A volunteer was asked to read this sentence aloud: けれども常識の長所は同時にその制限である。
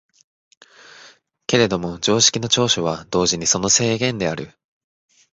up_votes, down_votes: 2, 4